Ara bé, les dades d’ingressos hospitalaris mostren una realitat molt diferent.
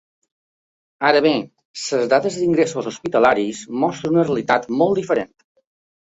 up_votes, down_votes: 0, 2